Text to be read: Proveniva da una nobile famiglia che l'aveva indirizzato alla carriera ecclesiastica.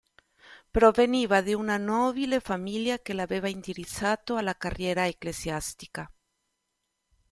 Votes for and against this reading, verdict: 0, 2, rejected